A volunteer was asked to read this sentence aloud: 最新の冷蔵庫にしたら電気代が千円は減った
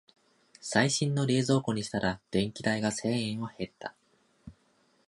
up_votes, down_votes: 2, 0